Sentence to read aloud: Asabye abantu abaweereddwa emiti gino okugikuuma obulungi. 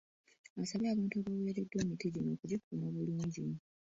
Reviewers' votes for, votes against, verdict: 2, 1, accepted